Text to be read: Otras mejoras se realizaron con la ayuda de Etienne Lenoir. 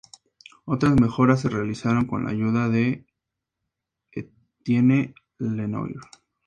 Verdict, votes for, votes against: accepted, 2, 0